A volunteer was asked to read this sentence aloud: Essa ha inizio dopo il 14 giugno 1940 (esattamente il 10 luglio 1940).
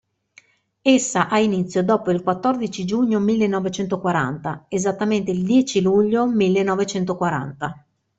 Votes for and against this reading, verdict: 0, 2, rejected